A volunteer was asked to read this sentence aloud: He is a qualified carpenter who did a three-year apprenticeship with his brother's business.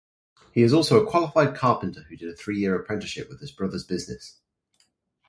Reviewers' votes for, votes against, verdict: 2, 2, rejected